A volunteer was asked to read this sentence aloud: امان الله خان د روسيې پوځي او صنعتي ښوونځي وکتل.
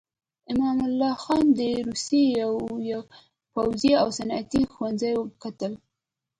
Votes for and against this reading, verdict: 0, 2, rejected